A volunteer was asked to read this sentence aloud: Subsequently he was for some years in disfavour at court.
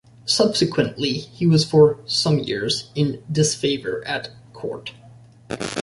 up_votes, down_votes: 2, 0